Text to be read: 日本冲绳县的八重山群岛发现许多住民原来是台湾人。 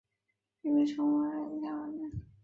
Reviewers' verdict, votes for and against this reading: rejected, 1, 4